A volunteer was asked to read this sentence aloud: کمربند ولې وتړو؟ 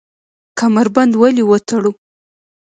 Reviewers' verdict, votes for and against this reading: rejected, 0, 2